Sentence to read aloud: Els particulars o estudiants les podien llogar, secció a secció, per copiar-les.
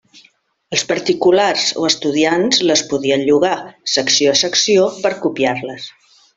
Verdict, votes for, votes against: accepted, 3, 0